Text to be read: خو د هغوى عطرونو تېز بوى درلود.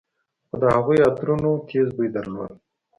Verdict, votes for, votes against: accepted, 2, 0